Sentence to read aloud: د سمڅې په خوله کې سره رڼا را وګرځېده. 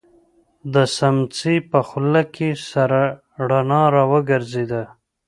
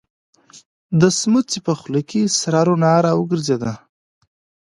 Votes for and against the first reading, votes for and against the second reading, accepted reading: 0, 2, 2, 0, second